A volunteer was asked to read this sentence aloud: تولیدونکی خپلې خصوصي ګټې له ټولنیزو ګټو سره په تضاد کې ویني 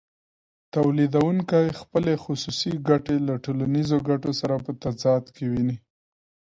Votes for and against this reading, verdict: 2, 0, accepted